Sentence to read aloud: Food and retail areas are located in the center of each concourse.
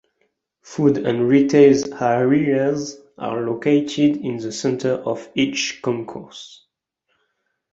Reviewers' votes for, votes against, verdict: 0, 2, rejected